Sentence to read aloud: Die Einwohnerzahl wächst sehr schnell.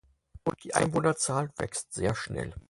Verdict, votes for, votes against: rejected, 0, 4